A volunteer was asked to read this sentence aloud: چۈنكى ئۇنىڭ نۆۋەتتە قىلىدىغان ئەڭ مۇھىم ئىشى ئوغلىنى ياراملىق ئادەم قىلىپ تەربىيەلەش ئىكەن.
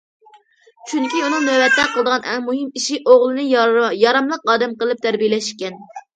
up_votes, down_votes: 2, 0